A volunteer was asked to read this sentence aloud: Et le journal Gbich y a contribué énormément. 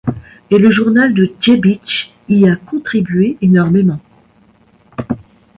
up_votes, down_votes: 1, 2